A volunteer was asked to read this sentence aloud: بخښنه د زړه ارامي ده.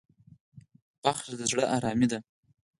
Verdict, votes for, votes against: accepted, 4, 0